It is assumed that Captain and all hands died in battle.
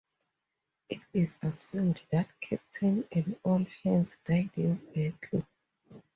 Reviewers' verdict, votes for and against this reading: accepted, 4, 0